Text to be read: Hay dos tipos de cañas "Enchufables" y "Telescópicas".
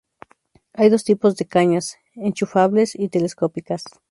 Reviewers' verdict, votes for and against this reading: accepted, 2, 0